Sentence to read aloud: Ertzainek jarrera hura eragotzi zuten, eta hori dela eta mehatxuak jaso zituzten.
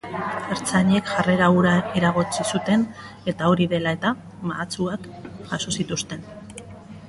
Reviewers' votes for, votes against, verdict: 0, 3, rejected